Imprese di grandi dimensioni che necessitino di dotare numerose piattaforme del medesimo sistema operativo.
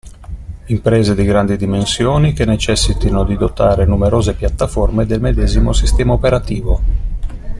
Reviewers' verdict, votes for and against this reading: accepted, 2, 0